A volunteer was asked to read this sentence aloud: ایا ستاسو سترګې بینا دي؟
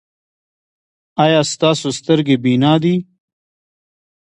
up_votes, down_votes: 2, 0